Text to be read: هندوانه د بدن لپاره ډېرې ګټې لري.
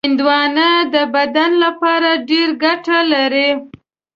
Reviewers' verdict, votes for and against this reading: rejected, 1, 2